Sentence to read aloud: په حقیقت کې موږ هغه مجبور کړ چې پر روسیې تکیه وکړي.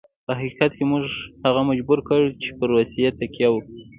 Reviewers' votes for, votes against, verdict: 2, 1, accepted